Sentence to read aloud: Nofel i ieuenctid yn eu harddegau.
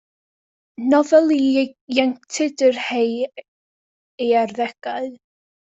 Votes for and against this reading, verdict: 0, 2, rejected